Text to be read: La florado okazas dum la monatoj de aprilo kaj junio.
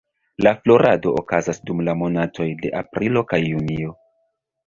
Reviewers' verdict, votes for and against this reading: rejected, 1, 2